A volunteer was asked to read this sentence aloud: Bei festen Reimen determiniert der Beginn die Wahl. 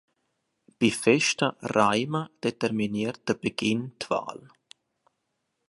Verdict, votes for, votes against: rejected, 1, 2